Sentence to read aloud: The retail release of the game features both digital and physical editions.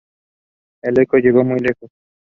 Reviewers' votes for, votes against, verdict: 0, 2, rejected